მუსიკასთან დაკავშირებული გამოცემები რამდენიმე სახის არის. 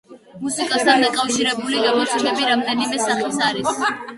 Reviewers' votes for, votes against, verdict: 1, 2, rejected